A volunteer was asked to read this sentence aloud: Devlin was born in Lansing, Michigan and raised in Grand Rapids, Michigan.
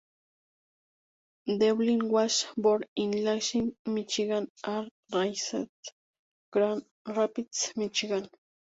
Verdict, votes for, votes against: rejected, 2, 2